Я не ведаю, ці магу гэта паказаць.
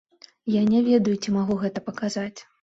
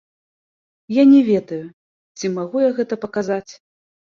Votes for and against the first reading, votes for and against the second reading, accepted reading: 2, 0, 1, 2, first